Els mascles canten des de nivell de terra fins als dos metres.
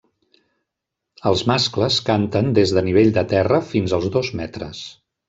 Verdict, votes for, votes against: accepted, 3, 0